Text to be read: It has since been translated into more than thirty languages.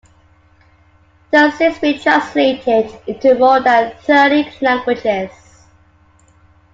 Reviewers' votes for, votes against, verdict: 2, 1, accepted